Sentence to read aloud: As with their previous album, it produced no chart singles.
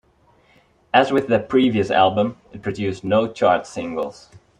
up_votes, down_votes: 4, 0